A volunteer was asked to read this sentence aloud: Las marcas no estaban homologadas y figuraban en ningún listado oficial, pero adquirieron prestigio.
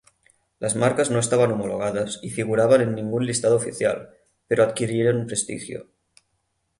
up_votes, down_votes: 6, 3